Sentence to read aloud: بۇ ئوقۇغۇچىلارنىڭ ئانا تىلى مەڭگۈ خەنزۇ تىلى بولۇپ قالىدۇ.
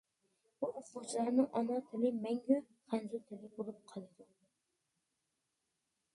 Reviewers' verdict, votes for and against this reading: rejected, 0, 2